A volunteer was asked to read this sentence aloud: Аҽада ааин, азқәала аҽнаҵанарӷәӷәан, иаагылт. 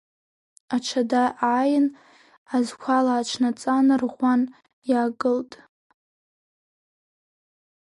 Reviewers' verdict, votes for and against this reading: rejected, 1, 2